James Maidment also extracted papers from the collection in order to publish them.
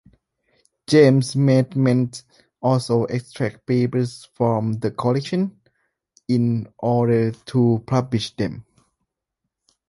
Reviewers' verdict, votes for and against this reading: rejected, 1, 2